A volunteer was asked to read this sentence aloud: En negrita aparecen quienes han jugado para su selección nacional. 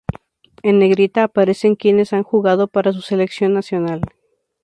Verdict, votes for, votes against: rejected, 2, 2